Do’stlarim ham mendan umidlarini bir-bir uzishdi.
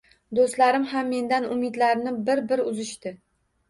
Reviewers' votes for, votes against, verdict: 2, 1, accepted